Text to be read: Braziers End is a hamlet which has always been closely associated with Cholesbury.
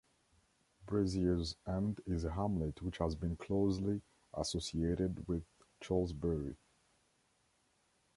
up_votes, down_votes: 1, 2